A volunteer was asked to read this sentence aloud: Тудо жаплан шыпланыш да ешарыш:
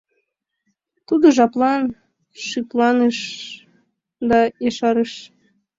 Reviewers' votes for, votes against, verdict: 2, 1, accepted